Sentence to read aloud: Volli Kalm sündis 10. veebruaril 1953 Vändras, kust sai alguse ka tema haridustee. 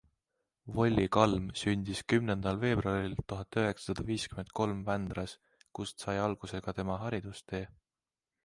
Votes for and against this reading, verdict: 0, 2, rejected